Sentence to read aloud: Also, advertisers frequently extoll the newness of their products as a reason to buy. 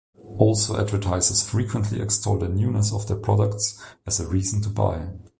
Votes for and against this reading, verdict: 0, 2, rejected